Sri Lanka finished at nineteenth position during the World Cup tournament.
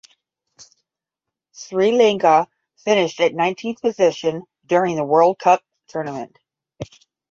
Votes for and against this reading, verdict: 10, 0, accepted